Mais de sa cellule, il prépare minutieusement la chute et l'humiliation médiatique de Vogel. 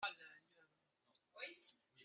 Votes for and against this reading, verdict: 0, 2, rejected